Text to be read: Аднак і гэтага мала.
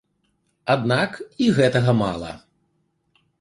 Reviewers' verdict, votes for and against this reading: accepted, 2, 0